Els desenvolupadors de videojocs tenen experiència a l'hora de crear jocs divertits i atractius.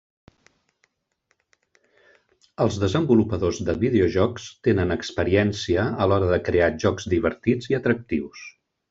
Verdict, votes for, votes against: rejected, 1, 2